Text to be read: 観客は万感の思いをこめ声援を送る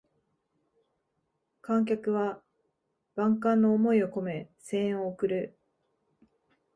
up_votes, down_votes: 2, 0